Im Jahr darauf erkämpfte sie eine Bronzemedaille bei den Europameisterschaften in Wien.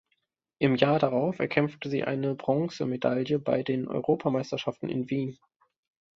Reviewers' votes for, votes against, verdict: 2, 0, accepted